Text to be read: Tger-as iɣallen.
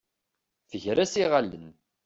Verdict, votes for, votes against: accepted, 2, 0